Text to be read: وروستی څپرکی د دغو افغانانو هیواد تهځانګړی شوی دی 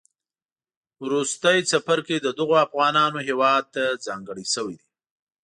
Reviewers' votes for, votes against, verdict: 1, 2, rejected